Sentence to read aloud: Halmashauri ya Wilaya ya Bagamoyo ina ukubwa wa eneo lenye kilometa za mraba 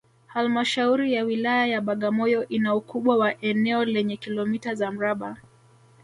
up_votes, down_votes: 4, 0